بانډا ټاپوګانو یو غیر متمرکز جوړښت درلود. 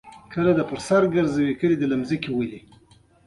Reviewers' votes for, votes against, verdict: 2, 0, accepted